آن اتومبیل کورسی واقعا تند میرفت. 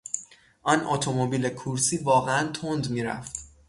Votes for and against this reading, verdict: 6, 0, accepted